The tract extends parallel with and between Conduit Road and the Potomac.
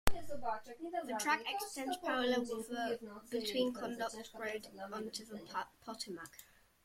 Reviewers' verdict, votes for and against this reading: rejected, 0, 2